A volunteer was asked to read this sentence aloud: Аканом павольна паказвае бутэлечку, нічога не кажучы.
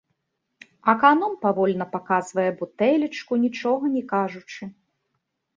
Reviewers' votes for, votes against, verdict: 2, 0, accepted